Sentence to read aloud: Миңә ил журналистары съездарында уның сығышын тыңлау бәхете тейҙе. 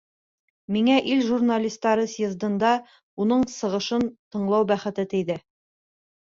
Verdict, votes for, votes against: rejected, 0, 2